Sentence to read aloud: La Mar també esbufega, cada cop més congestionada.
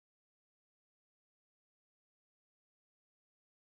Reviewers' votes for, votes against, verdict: 0, 2, rejected